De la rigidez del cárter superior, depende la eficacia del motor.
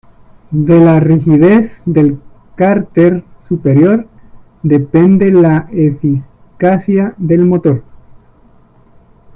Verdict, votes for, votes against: rejected, 1, 2